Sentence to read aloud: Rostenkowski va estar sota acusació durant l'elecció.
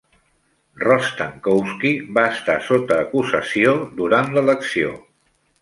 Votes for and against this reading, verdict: 3, 0, accepted